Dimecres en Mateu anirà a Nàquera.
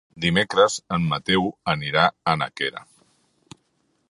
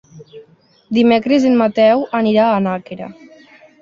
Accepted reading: second